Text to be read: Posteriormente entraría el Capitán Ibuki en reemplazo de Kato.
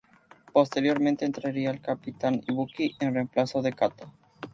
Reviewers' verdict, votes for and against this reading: accepted, 2, 0